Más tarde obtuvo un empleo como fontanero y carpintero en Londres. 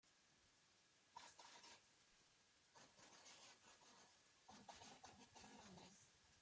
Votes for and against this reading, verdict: 0, 2, rejected